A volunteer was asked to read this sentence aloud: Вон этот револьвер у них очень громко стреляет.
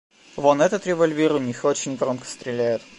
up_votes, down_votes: 2, 0